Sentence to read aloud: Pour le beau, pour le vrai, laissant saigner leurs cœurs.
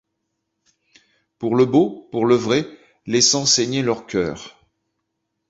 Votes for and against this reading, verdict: 2, 0, accepted